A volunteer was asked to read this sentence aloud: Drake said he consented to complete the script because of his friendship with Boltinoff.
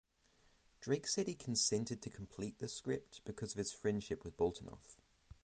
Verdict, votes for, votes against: rejected, 3, 3